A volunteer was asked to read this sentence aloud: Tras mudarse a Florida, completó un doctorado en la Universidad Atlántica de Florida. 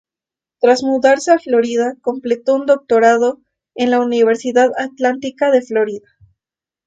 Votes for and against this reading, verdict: 4, 0, accepted